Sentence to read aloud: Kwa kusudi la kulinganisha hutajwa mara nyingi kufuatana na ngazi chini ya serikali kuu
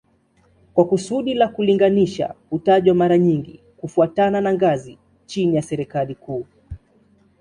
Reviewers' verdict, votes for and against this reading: accepted, 2, 0